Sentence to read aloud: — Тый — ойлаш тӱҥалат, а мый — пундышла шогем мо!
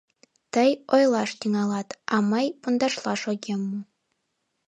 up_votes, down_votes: 0, 2